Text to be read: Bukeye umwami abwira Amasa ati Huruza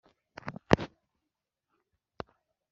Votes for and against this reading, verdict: 1, 2, rejected